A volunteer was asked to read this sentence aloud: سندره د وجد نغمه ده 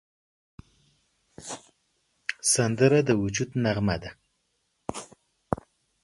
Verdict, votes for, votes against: rejected, 0, 2